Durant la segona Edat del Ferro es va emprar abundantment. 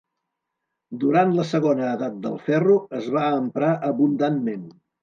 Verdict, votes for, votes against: accepted, 2, 0